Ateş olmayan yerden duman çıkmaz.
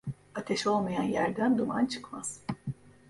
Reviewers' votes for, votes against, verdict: 0, 2, rejected